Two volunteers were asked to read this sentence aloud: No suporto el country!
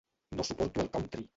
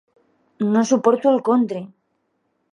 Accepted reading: second